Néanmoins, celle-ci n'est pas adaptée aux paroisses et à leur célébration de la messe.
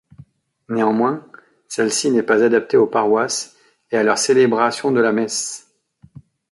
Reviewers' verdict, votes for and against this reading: accepted, 2, 0